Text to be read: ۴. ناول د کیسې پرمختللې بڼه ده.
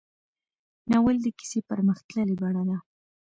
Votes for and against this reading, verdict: 0, 2, rejected